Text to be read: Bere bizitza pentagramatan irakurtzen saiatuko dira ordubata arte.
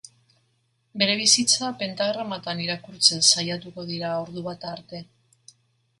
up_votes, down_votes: 0, 2